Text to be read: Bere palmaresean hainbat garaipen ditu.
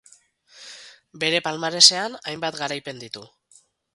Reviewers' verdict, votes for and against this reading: accepted, 4, 0